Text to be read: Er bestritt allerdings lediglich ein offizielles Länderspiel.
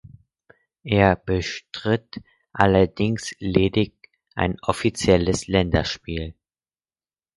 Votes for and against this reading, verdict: 0, 4, rejected